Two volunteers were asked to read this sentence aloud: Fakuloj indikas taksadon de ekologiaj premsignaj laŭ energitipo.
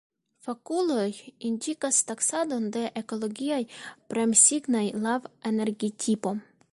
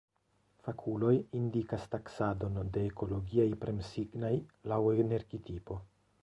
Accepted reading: first